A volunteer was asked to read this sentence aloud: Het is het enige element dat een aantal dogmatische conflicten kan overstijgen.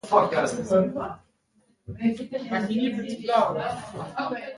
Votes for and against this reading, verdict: 0, 2, rejected